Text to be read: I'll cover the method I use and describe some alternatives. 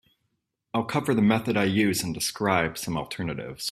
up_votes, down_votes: 2, 0